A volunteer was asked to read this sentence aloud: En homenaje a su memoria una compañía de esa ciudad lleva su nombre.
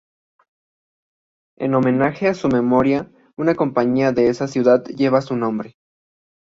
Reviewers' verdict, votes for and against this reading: accepted, 2, 0